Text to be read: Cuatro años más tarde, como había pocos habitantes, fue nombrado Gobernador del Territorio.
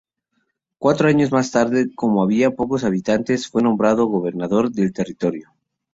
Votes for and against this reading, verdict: 2, 0, accepted